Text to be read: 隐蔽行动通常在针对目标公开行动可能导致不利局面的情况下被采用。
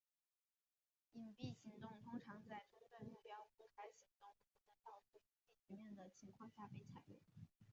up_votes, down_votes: 0, 3